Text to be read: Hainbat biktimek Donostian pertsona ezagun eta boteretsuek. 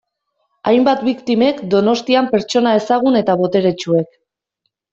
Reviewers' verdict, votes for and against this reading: accepted, 2, 0